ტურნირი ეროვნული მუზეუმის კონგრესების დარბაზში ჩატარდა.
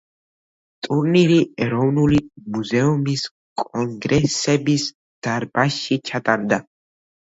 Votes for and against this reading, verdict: 2, 0, accepted